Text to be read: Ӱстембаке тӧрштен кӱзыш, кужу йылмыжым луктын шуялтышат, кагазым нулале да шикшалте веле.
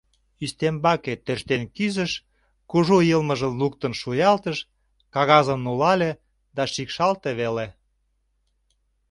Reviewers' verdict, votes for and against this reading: rejected, 0, 2